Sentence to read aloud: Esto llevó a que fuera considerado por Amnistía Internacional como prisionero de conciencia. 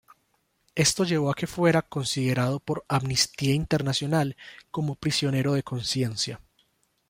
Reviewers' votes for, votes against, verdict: 2, 1, accepted